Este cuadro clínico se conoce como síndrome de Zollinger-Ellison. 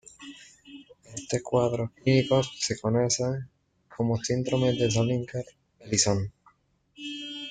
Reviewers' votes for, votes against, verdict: 1, 2, rejected